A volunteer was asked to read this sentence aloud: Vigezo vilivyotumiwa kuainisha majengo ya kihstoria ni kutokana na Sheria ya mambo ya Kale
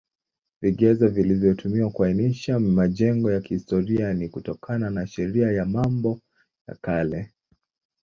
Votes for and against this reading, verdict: 0, 2, rejected